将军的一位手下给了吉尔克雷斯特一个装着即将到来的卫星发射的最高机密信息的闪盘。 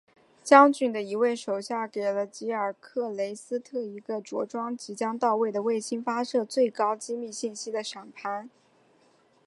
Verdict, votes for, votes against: accepted, 2, 0